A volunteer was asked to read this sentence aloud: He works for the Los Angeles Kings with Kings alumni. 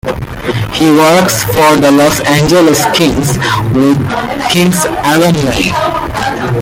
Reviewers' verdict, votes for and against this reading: accepted, 2, 1